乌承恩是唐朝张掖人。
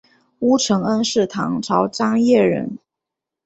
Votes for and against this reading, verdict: 2, 0, accepted